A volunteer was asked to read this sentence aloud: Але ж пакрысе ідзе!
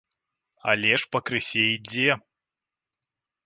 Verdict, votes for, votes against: accepted, 2, 0